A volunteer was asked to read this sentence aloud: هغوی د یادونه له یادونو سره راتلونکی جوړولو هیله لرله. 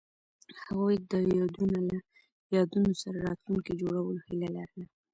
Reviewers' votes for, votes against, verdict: 1, 2, rejected